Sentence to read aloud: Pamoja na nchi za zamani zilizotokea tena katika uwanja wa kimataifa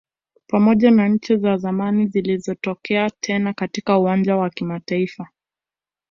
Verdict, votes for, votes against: accepted, 2, 0